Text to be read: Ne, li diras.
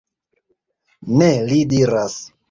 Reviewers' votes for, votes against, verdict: 2, 1, accepted